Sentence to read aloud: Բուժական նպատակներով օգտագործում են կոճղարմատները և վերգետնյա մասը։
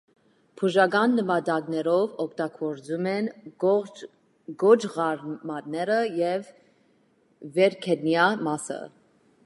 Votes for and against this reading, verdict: 0, 2, rejected